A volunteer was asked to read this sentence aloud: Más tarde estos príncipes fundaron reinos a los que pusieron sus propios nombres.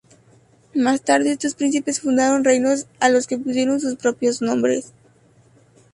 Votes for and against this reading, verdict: 6, 0, accepted